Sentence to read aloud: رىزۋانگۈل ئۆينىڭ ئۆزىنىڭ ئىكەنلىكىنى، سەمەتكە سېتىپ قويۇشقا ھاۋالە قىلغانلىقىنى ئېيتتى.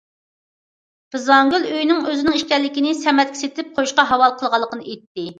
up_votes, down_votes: 2, 0